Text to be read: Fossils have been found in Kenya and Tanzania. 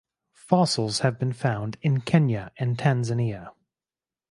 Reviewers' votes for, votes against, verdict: 4, 0, accepted